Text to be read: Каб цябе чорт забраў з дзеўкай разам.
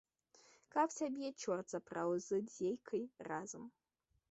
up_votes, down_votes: 0, 2